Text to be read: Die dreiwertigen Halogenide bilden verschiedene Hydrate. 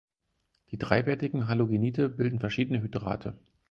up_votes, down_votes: 2, 4